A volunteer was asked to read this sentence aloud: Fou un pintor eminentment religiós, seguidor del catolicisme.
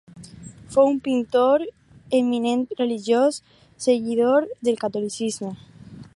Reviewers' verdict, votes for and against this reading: rejected, 2, 4